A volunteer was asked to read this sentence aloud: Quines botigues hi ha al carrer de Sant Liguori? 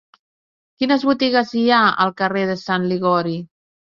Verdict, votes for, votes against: accepted, 2, 0